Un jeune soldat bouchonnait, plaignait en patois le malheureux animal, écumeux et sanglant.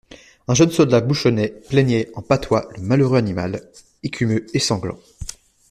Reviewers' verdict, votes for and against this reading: accepted, 2, 0